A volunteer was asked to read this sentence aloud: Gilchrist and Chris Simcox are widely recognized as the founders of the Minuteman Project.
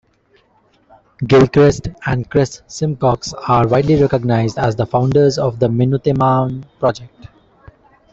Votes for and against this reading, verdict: 1, 2, rejected